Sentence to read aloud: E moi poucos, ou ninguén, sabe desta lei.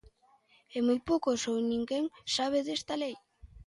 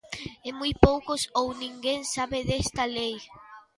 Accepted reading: first